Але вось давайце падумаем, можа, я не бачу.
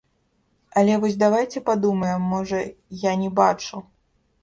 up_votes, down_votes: 1, 2